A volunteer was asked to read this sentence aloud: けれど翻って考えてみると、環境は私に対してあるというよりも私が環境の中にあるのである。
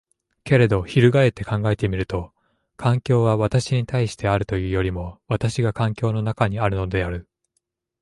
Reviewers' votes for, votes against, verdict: 3, 0, accepted